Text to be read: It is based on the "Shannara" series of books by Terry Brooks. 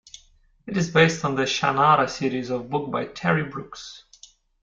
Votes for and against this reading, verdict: 0, 2, rejected